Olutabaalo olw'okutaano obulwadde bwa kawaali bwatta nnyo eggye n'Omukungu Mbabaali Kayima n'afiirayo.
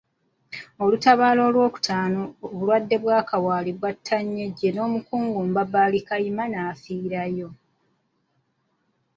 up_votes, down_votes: 2, 0